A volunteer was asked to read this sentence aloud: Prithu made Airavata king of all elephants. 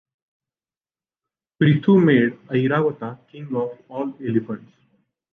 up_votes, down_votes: 2, 0